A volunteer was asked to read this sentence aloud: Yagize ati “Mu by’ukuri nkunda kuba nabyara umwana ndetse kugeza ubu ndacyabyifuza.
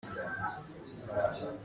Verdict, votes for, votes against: rejected, 0, 2